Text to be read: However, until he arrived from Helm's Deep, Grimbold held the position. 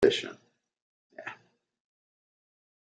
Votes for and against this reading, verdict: 0, 2, rejected